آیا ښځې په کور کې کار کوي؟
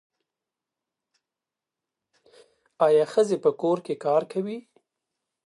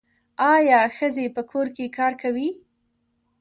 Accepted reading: first